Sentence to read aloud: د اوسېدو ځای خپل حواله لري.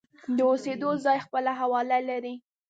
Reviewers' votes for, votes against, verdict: 2, 0, accepted